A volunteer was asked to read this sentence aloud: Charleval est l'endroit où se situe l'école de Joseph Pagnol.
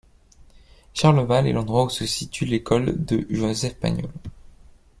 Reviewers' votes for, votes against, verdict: 0, 2, rejected